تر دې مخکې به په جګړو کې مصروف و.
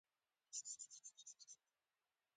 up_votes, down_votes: 0, 2